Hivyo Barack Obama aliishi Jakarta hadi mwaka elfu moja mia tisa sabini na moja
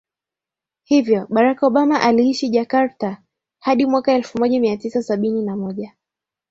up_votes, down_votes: 2, 1